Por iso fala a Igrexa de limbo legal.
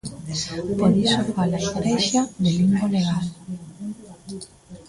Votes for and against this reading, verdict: 0, 2, rejected